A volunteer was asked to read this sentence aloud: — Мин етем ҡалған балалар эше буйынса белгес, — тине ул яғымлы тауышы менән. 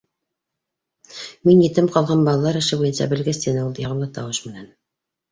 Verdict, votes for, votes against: accepted, 2, 0